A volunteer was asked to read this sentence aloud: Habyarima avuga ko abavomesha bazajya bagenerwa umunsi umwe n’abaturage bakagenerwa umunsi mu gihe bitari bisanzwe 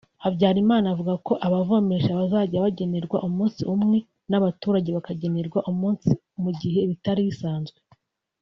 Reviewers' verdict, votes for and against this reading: rejected, 0, 2